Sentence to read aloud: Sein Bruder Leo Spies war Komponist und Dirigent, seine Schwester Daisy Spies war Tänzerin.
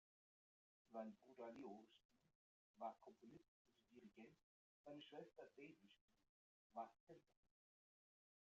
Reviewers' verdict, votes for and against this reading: rejected, 0, 2